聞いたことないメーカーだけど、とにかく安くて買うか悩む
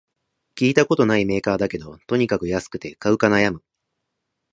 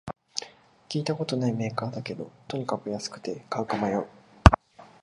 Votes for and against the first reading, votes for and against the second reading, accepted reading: 2, 0, 1, 2, first